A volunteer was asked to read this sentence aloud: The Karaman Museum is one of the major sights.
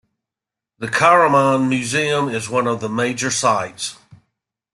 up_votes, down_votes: 1, 2